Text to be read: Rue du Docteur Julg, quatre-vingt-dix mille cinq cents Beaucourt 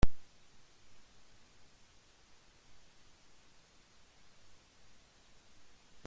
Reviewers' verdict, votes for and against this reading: rejected, 0, 2